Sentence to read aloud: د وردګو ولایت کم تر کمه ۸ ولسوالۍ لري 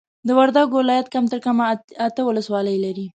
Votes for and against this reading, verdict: 0, 2, rejected